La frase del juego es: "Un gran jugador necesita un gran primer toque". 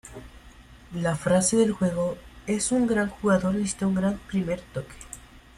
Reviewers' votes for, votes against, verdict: 0, 2, rejected